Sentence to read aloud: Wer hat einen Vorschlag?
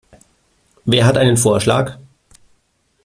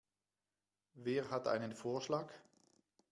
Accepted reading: second